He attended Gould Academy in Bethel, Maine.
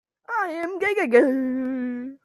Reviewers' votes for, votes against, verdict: 0, 2, rejected